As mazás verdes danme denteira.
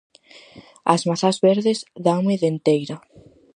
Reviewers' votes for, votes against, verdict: 4, 0, accepted